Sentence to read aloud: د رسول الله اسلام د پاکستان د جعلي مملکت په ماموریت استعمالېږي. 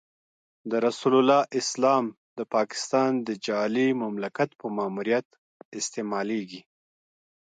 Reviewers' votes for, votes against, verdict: 2, 1, accepted